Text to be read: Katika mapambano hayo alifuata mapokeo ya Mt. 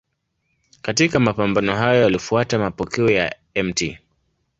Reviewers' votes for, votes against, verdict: 10, 2, accepted